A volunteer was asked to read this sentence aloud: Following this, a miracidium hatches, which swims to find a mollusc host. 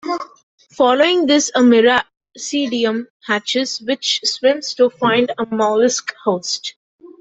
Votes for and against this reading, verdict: 0, 2, rejected